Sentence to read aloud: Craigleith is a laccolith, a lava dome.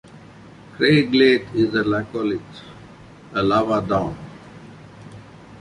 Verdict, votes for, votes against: accepted, 2, 1